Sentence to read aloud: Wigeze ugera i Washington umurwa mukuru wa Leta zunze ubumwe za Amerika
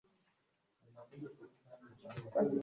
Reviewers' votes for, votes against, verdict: 1, 2, rejected